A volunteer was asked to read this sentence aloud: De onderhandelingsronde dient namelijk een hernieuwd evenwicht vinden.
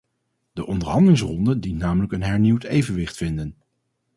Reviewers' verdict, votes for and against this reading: accepted, 2, 0